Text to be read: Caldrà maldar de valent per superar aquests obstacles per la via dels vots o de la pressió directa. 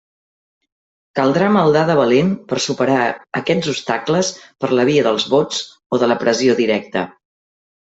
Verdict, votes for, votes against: rejected, 0, 2